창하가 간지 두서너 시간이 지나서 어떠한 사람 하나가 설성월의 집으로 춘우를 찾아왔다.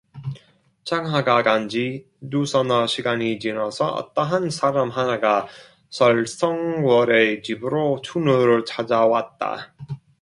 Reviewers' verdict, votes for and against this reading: rejected, 0, 2